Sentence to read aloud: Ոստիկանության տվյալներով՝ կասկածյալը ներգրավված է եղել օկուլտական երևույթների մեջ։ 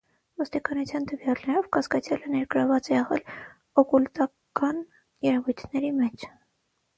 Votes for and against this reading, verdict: 6, 0, accepted